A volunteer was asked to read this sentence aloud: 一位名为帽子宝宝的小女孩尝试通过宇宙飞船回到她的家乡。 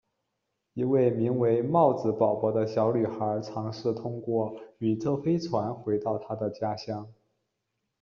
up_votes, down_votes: 0, 2